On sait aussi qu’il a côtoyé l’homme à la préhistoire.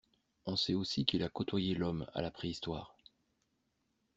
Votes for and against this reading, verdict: 2, 0, accepted